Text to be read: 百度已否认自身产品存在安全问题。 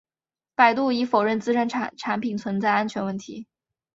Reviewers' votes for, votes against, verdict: 1, 2, rejected